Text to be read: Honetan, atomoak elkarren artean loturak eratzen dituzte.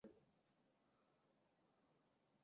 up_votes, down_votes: 0, 2